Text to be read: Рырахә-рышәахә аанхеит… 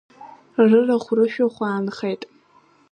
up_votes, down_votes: 2, 0